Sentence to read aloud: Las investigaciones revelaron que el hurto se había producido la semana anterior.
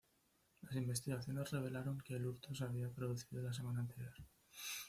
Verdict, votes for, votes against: rejected, 0, 2